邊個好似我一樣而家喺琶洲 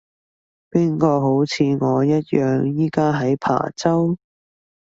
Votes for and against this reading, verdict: 1, 2, rejected